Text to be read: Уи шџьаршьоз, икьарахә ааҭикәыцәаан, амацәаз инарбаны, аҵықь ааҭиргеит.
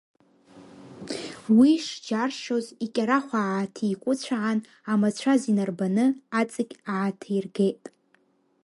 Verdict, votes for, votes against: accepted, 2, 0